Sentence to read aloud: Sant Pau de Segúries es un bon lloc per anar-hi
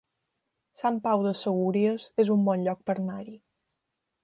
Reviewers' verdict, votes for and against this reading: rejected, 1, 2